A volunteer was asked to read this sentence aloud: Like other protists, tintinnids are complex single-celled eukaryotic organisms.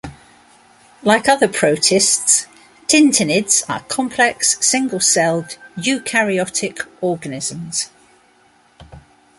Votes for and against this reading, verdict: 2, 1, accepted